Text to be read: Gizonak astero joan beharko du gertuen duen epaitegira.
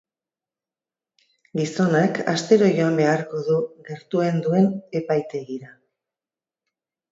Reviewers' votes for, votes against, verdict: 2, 0, accepted